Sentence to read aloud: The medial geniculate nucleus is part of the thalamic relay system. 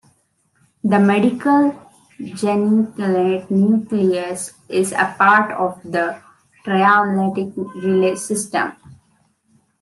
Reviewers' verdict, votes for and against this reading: rejected, 0, 2